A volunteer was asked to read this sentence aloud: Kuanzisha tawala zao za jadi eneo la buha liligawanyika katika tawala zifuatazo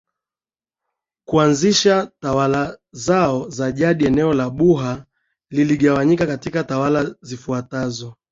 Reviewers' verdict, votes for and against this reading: accepted, 2, 0